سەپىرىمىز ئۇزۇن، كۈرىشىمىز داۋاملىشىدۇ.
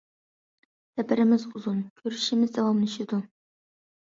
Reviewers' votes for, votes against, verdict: 2, 0, accepted